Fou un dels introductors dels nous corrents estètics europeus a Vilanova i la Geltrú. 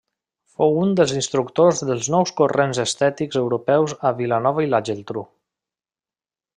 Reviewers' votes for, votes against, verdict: 1, 2, rejected